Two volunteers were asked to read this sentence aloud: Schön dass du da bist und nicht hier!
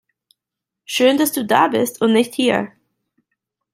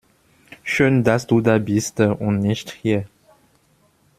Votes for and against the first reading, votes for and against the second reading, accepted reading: 2, 0, 0, 2, first